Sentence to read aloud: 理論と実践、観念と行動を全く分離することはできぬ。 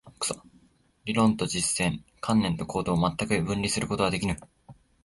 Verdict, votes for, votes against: accepted, 3, 1